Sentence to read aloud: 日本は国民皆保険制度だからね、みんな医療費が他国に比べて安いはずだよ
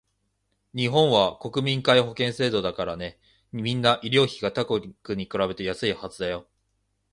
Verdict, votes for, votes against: accepted, 2, 0